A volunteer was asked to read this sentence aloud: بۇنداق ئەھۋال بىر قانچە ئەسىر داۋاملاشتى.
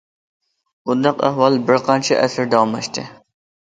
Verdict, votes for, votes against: accepted, 2, 0